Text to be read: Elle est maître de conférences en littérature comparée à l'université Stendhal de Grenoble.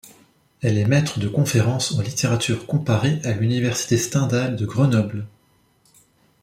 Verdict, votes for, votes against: accepted, 2, 0